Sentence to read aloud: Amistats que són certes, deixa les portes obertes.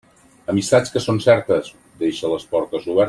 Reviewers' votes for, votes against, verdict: 0, 2, rejected